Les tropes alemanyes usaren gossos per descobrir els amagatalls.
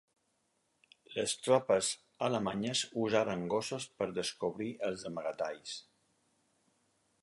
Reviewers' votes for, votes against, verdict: 4, 0, accepted